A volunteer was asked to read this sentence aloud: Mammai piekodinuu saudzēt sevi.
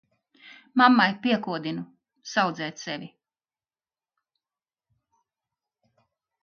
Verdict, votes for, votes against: accepted, 2, 0